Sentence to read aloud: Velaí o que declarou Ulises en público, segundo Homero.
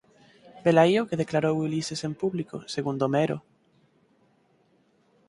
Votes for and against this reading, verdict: 4, 0, accepted